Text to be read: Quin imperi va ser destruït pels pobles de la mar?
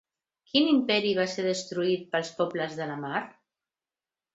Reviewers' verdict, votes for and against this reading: accepted, 2, 0